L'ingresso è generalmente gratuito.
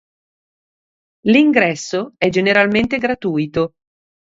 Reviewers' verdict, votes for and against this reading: accepted, 2, 0